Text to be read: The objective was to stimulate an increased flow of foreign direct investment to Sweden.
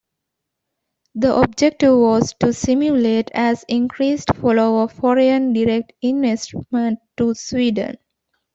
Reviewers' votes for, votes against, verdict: 0, 2, rejected